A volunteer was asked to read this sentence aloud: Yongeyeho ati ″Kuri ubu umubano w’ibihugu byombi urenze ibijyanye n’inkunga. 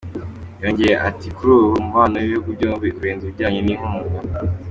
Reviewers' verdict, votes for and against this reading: accepted, 2, 1